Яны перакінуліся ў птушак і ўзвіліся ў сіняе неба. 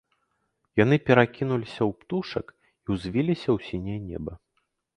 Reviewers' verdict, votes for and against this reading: accepted, 3, 0